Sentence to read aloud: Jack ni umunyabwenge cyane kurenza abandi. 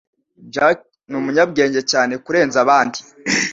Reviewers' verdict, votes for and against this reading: accepted, 2, 0